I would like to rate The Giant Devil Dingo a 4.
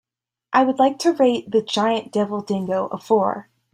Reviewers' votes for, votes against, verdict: 0, 2, rejected